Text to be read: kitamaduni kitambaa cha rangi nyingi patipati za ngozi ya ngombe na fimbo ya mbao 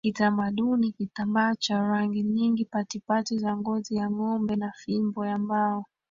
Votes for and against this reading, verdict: 2, 1, accepted